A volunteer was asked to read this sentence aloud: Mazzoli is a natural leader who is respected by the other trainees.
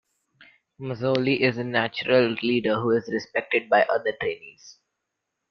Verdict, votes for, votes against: rejected, 1, 2